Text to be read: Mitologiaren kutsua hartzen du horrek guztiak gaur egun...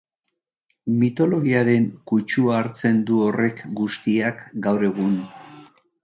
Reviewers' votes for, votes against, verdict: 2, 0, accepted